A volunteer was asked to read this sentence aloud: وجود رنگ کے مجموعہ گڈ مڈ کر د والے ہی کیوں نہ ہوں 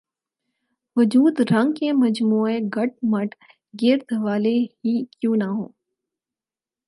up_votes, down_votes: 4, 0